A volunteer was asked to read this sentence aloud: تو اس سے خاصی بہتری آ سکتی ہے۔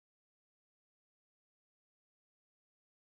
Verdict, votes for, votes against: rejected, 0, 2